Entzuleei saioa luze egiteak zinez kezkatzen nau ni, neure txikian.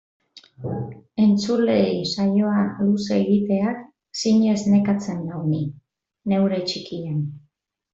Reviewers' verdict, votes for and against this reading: rejected, 0, 2